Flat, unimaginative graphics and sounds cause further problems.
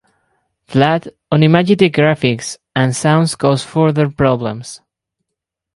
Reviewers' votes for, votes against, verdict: 2, 4, rejected